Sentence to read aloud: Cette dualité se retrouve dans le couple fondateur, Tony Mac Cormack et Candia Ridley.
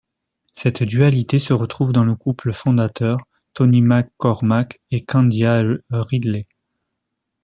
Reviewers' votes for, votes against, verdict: 0, 2, rejected